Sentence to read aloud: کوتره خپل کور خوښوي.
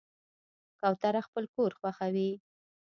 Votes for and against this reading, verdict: 1, 2, rejected